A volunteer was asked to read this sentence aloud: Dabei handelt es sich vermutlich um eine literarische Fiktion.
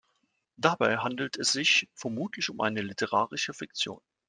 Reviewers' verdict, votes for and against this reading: accepted, 2, 0